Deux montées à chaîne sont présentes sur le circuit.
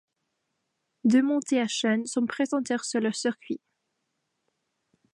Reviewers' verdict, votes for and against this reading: rejected, 0, 2